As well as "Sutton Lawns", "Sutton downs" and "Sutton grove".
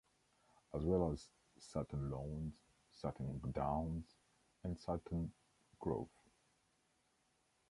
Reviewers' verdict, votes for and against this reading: rejected, 1, 2